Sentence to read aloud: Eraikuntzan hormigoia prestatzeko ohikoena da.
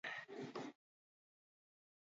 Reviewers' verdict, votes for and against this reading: rejected, 0, 4